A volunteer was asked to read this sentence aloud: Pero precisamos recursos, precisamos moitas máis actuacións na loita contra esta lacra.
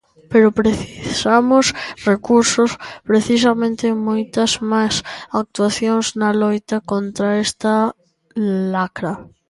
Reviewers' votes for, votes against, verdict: 0, 2, rejected